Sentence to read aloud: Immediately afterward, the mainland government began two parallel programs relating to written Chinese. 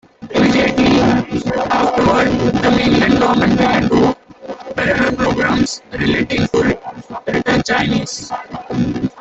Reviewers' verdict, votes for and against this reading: rejected, 1, 2